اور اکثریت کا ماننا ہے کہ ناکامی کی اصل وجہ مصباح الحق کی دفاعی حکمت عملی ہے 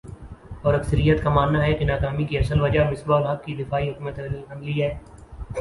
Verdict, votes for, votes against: accepted, 2, 0